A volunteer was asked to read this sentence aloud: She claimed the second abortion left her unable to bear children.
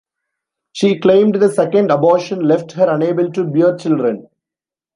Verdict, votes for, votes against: rejected, 1, 2